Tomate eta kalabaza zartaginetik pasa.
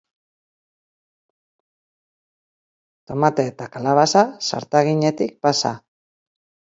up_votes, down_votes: 0, 2